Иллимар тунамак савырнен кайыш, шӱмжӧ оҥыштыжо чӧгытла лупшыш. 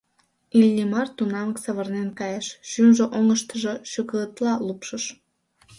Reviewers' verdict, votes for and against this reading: rejected, 1, 2